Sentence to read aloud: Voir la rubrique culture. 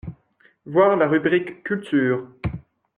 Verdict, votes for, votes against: accepted, 2, 0